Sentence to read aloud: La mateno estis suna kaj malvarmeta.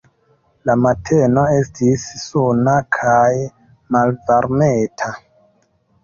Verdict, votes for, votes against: rejected, 1, 2